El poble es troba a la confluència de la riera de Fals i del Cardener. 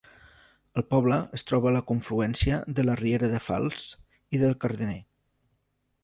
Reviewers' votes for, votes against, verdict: 2, 1, accepted